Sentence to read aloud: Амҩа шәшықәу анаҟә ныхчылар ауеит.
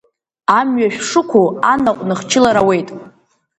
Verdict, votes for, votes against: rejected, 0, 2